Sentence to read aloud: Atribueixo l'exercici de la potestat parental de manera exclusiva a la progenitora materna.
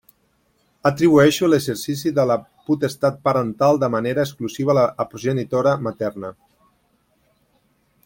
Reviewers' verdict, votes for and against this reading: rejected, 0, 2